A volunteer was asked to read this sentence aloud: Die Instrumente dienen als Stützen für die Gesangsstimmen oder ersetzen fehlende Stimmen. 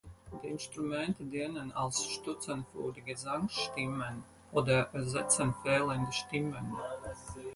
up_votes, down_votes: 2, 4